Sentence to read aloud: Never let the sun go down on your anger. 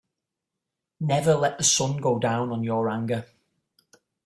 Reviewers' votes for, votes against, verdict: 2, 0, accepted